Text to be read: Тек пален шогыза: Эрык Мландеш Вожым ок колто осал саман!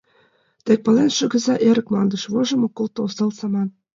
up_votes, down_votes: 2, 1